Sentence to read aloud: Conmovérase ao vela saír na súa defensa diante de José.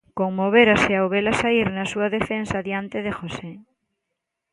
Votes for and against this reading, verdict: 2, 0, accepted